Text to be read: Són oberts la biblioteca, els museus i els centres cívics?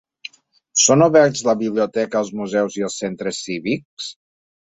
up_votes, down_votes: 5, 0